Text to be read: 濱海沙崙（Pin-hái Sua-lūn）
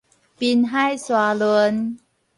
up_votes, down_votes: 4, 0